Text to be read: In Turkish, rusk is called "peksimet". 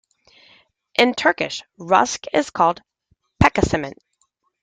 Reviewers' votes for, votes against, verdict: 1, 2, rejected